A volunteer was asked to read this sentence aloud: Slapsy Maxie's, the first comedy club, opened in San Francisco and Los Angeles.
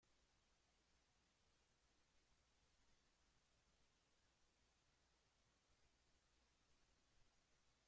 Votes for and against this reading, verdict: 0, 2, rejected